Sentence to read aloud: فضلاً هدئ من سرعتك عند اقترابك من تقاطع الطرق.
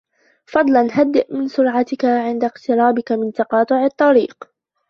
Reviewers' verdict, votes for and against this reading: rejected, 0, 2